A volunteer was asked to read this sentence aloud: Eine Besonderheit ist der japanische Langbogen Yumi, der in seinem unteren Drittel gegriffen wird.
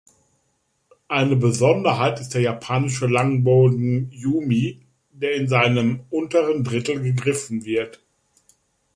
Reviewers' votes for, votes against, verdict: 1, 2, rejected